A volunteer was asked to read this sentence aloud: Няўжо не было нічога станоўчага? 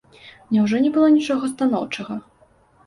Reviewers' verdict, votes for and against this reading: accepted, 2, 0